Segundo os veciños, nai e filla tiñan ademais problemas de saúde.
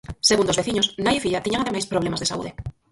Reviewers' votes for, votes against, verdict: 0, 4, rejected